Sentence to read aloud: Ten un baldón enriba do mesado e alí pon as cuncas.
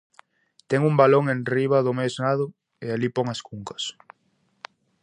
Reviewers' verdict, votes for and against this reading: rejected, 0, 2